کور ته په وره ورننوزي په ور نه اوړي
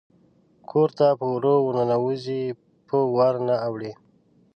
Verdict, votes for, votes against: accepted, 2, 1